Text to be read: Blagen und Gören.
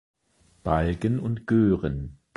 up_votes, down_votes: 0, 2